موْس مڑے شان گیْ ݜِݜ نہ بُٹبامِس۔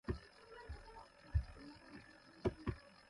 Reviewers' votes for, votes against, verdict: 0, 2, rejected